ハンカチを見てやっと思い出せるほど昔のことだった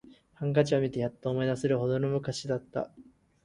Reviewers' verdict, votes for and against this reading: rejected, 0, 2